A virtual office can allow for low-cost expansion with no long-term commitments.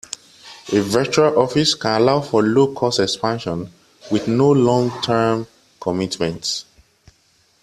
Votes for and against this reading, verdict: 2, 1, accepted